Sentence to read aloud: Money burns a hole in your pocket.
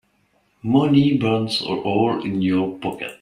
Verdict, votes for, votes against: accepted, 2, 1